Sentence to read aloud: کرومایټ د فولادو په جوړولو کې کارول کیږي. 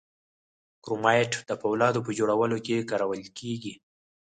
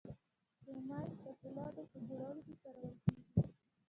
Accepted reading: first